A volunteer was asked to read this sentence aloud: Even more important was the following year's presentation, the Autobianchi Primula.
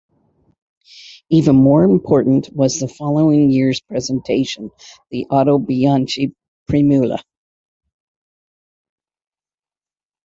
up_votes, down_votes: 2, 1